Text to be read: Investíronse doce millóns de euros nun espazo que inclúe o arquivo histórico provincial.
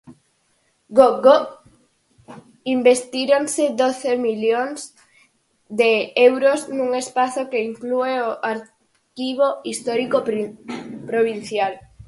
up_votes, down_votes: 0, 4